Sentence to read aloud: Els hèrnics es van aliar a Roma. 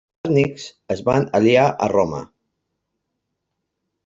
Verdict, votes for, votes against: rejected, 0, 2